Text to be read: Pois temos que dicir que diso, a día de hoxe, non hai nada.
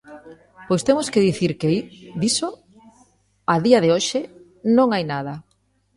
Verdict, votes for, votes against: accepted, 2, 0